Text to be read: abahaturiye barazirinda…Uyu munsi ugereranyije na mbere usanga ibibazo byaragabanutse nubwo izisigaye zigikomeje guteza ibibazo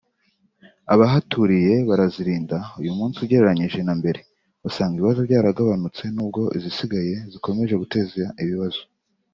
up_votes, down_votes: 3, 0